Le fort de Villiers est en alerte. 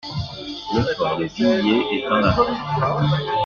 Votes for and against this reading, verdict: 0, 2, rejected